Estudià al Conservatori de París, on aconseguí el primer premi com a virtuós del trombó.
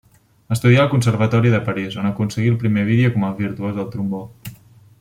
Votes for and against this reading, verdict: 0, 2, rejected